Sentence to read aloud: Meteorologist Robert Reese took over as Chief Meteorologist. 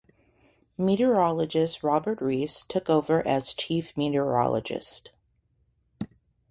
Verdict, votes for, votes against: accepted, 2, 0